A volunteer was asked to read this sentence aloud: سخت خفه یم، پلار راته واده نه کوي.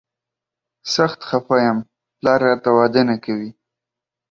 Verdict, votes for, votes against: accepted, 2, 0